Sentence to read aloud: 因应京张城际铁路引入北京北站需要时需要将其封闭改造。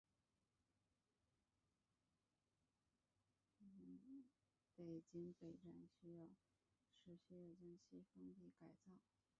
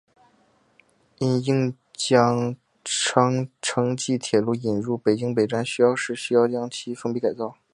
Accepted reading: second